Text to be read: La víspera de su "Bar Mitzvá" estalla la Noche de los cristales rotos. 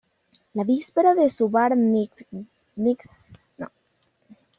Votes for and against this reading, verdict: 0, 2, rejected